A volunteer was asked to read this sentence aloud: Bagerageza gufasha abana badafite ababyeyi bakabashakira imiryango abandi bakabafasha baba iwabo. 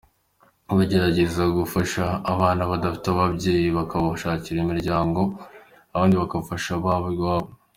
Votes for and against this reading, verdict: 2, 0, accepted